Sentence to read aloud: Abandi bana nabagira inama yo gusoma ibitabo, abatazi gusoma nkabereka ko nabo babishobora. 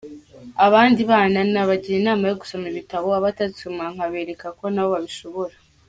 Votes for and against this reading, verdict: 0, 2, rejected